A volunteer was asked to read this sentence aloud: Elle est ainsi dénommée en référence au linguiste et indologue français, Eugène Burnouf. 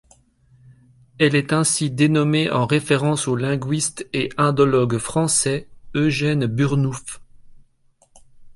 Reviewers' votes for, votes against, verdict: 4, 0, accepted